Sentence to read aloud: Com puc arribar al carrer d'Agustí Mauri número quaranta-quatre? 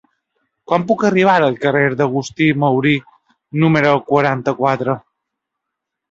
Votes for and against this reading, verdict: 0, 2, rejected